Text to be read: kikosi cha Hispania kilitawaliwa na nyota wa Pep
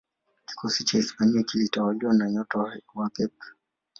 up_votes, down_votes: 0, 2